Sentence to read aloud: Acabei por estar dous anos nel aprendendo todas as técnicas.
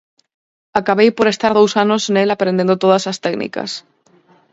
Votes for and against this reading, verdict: 4, 0, accepted